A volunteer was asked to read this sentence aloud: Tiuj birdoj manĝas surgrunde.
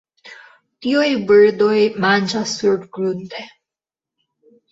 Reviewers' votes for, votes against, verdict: 0, 2, rejected